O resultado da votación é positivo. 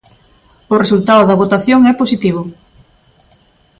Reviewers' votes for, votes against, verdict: 2, 0, accepted